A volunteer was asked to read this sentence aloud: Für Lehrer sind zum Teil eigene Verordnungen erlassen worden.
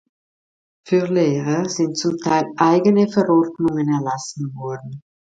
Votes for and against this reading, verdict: 2, 1, accepted